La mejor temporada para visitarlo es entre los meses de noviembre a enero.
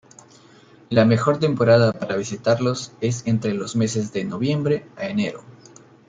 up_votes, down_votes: 1, 2